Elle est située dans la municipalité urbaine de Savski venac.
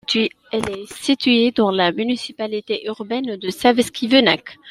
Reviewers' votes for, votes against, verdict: 2, 1, accepted